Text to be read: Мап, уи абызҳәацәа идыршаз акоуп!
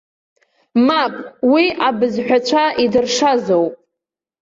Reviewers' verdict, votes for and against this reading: rejected, 0, 2